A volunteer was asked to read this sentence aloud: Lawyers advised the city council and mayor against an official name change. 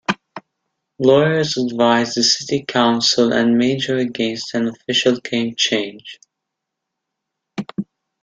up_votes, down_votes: 1, 2